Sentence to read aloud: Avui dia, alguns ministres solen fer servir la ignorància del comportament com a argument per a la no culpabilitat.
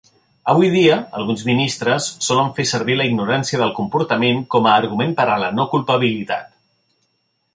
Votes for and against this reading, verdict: 3, 0, accepted